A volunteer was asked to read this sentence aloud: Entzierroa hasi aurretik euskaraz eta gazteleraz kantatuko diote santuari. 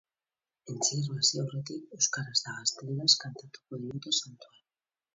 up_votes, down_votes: 0, 4